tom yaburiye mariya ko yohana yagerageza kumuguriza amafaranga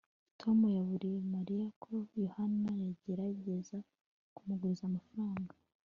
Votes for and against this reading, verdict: 3, 0, accepted